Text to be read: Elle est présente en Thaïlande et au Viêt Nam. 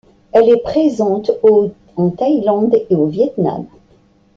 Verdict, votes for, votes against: rejected, 0, 2